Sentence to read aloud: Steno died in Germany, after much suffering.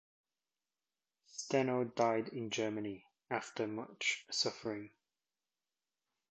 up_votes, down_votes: 2, 0